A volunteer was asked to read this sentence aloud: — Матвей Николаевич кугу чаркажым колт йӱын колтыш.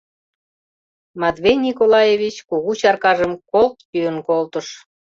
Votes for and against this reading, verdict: 2, 0, accepted